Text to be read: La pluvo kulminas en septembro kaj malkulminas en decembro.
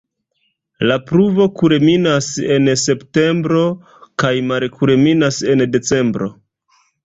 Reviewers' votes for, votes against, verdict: 0, 2, rejected